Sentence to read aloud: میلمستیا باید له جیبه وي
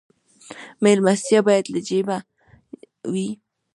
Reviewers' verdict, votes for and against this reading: rejected, 1, 2